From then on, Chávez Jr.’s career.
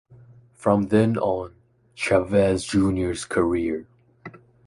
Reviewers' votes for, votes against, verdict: 2, 0, accepted